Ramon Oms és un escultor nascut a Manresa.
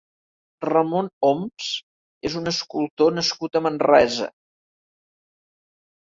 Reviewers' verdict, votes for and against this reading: accepted, 3, 0